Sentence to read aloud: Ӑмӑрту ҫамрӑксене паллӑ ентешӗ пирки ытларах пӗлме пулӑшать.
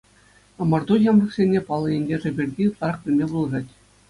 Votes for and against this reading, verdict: 2, 0, accepted